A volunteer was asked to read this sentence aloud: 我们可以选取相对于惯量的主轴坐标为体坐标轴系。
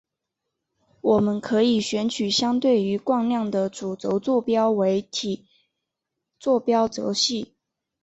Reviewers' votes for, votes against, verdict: 2, 0, accepted